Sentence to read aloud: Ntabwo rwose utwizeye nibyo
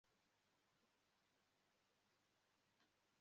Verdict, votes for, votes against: rejected, 0, 2